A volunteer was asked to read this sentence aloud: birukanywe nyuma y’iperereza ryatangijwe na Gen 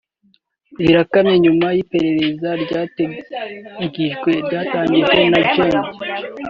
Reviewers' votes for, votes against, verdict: 0, 2, rejected